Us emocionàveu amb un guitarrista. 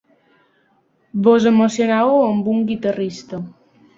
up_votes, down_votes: 1, 2